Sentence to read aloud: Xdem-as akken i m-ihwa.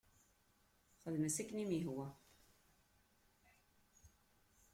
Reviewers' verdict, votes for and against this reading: rejected, 0, 2